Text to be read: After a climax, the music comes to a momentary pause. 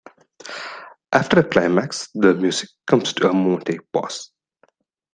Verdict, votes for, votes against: rejected, 1, 2